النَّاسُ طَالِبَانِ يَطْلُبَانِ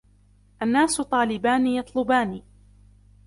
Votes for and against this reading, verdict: 2, 0, accepted